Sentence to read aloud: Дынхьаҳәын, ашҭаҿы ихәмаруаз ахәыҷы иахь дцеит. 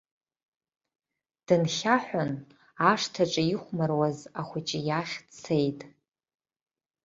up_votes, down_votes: 2, 0